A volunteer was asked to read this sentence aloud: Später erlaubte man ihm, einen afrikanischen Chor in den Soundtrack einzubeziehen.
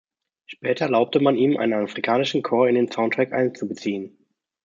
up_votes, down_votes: 0, 2